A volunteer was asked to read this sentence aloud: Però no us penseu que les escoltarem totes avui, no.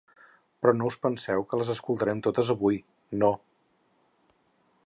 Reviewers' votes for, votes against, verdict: 6, 0, accepted